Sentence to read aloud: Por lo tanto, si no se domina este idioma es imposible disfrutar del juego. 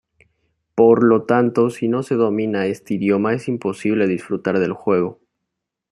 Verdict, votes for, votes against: accepted, 2, 0